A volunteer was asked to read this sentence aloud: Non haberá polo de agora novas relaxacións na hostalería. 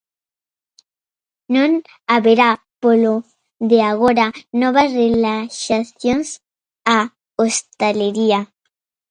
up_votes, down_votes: 0, 2